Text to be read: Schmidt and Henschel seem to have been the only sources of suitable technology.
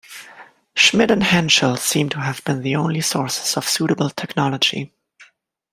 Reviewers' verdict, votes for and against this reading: accepted, 2, 0